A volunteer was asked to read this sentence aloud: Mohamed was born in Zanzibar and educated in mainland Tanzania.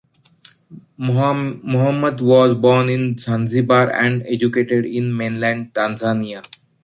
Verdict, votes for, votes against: accepted, 2, 1